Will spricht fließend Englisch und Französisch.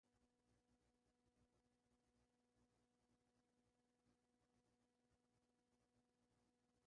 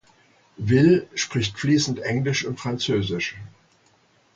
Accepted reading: second